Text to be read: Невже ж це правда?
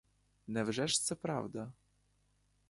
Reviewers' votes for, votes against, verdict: 3, 0, accepted